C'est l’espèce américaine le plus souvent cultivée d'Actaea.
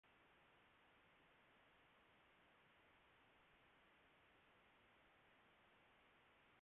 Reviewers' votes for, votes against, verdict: 0, 2, rejected